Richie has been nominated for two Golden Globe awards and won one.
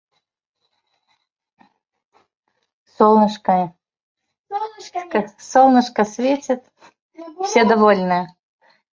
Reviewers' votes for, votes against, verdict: 0, 2, rejected